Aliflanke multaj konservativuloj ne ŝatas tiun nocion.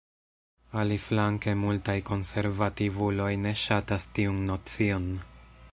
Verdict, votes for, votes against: accepted, 2, 0